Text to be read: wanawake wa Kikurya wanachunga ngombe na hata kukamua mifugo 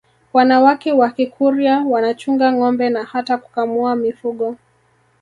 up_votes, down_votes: 0, 2